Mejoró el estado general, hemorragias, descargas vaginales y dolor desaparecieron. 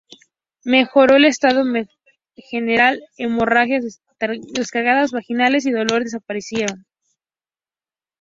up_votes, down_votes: 2, 0